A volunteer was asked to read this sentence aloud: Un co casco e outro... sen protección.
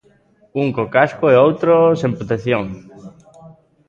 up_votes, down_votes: 3, 0